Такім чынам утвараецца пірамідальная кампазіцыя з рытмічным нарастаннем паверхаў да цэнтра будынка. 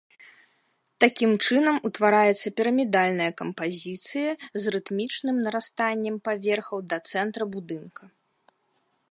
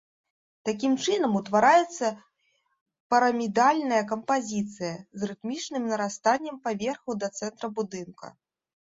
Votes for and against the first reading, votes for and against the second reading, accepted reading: 2, 0, 0, 2, first